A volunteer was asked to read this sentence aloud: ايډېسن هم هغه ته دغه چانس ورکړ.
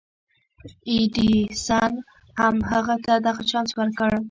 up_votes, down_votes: 2, 0